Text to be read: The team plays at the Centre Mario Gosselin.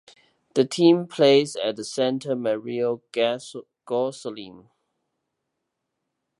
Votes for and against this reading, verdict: 0, 2, rejected